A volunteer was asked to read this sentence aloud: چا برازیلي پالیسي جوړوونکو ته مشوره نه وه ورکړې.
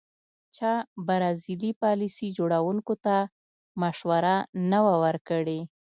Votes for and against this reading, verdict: 2, 0, accepted